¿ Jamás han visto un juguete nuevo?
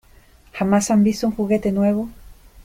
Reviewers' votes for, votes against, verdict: 2, 0, accepted